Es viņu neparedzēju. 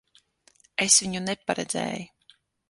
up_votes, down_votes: 6, 0